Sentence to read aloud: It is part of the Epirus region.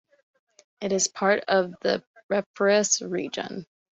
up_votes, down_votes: 0, 2